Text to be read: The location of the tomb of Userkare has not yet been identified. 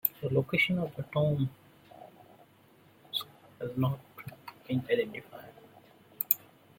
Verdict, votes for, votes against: rejected, 0, 3